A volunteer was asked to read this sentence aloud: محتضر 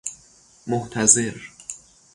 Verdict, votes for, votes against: rejected, 0, 3